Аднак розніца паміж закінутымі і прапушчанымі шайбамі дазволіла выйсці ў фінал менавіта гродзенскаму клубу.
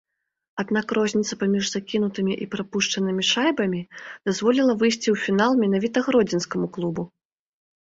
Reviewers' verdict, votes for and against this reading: accepted, 2, 1